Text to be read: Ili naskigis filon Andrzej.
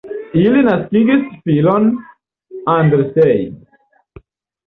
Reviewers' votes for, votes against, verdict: 1, 2, rejected